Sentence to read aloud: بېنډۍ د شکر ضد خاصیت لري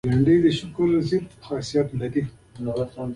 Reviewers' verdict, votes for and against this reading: rejected, 0, 2